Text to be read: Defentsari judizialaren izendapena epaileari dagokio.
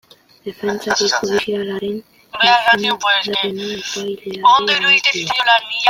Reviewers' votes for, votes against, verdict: 0, 2, rejected